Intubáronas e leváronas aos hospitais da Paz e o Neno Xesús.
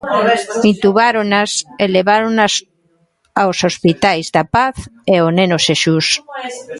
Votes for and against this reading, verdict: 1, 2, rejected